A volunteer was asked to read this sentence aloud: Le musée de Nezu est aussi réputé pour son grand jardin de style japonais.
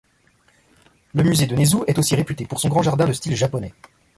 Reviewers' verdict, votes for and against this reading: accepted, 2, 0